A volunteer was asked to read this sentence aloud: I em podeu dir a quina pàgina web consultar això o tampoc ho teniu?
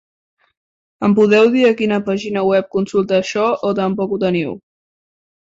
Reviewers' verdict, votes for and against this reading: rejected, 0, 2